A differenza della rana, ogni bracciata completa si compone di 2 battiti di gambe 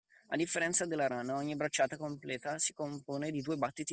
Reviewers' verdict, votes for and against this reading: rejected, 0, 2